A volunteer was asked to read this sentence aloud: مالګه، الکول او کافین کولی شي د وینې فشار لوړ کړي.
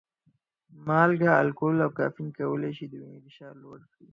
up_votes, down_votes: 0, 4